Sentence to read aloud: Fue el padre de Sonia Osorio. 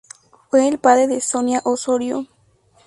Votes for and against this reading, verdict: 4, 0, accepted